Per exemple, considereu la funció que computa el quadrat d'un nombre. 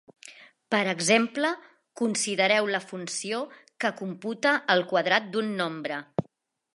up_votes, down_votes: 2, 0